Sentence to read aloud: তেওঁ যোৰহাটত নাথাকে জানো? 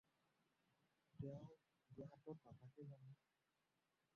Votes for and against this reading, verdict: 0, 4, rejected